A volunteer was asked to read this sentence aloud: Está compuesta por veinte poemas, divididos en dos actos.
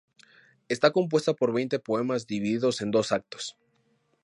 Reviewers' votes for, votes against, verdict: 2, 0, accepted